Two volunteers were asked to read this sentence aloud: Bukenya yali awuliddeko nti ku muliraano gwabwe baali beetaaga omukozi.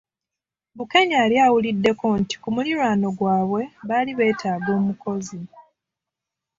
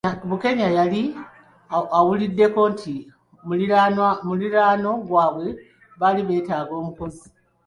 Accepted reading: first